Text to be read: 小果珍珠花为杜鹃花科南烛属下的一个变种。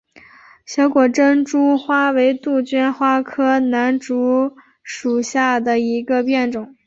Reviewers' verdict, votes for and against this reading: accepted, 2, 1